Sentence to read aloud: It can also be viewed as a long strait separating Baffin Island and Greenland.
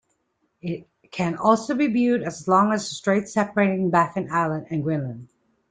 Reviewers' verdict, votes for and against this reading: rejected, 0, 2